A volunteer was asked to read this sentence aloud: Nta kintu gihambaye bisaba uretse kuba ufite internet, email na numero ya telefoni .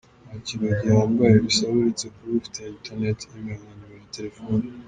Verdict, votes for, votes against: rejected, 3, 4